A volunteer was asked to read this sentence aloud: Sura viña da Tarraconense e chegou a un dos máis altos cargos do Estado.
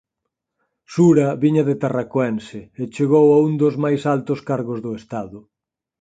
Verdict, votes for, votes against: rejected, 2, 4